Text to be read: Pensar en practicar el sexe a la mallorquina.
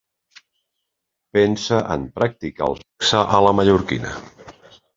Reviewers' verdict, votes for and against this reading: rejected, 0, 2